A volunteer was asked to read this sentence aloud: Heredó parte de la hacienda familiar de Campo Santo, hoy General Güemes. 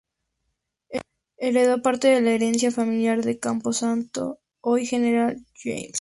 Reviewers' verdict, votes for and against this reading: rejected, 0, 2